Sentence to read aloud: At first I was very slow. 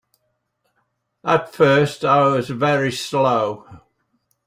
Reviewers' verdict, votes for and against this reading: accepted, 3, 0